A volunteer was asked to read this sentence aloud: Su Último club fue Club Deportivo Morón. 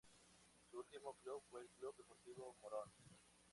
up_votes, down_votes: 2, 0